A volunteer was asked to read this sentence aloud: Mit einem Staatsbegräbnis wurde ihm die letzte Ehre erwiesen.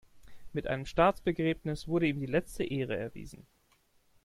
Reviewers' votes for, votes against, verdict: 2, 0, accepted